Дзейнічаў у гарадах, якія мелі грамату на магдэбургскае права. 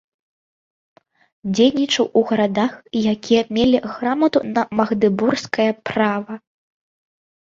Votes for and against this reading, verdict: 2, 1, accepted